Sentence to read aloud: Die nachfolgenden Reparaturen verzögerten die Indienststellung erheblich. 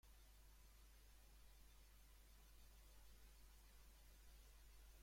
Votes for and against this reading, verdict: 0, 2, rejected